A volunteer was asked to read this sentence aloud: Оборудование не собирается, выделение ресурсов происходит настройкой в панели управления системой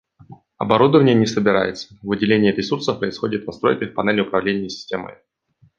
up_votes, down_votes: 2, 0